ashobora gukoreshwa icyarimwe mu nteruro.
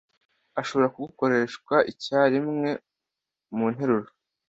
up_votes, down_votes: 1, 2